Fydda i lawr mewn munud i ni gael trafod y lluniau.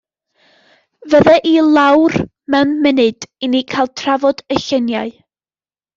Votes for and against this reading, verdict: 1, 2, rejected